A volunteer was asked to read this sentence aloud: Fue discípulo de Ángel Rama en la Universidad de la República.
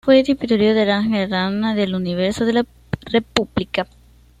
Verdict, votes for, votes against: rejected, 0, 2